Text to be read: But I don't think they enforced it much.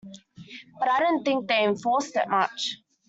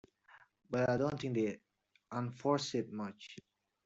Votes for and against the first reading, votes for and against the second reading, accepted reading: 2, 1, 1, 2, first